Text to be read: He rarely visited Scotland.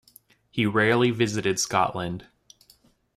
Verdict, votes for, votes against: accepted, 2, 0